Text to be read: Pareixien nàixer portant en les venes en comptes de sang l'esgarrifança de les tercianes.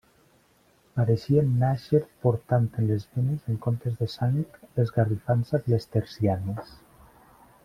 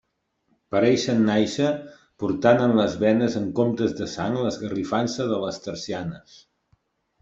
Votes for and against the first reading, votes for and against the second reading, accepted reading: 0, 2, 2, 1, second